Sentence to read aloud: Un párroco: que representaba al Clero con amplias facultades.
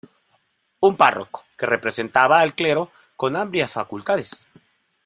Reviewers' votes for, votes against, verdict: 0, 2, rejected